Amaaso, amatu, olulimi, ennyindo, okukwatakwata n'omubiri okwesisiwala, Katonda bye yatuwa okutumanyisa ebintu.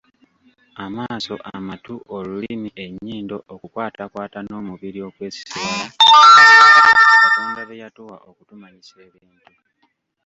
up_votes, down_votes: 1, 2